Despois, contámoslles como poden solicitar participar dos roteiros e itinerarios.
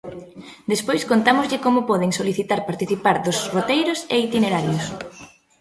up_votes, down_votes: 0, 2